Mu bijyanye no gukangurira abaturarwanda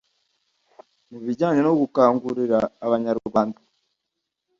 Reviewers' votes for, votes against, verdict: 2, 1, accepted